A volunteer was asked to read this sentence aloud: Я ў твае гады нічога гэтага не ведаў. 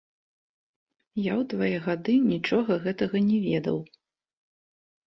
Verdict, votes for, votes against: accepted, 2, 0